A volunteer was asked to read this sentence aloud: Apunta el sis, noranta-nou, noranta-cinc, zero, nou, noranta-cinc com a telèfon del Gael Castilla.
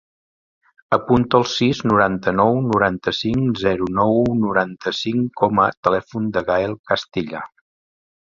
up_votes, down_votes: 1, 2